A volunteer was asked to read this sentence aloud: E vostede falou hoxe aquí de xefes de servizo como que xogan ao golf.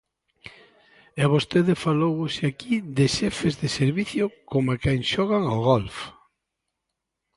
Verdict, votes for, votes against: rejected, 0, 2